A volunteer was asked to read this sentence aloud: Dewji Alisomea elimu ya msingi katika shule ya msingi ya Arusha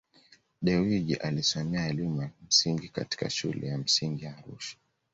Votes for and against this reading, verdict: 2, 0, accepted